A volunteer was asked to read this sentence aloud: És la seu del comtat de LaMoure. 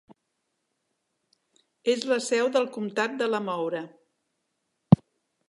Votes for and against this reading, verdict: 2, 0, accepted